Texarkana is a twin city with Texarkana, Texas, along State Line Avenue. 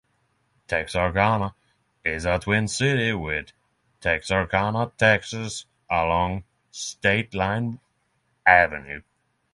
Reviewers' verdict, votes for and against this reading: accepted, 6, 0